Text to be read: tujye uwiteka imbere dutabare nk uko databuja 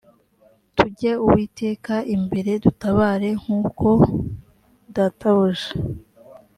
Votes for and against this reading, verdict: 2, 0, accepted